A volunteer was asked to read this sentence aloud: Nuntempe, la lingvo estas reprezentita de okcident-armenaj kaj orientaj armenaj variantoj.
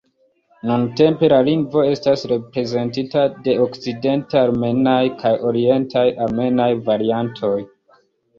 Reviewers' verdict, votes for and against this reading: accepted, 2, 0